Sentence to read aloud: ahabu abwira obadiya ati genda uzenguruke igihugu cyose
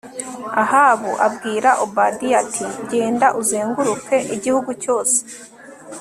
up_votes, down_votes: 2, 0